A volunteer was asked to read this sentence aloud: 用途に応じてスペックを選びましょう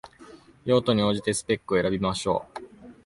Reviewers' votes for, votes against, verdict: 2, 0, accepted